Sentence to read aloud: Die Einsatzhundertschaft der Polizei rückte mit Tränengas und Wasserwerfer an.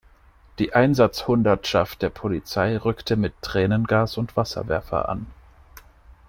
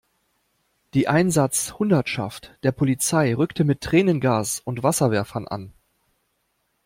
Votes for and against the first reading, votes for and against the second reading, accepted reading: 2, 0, 0, 2, first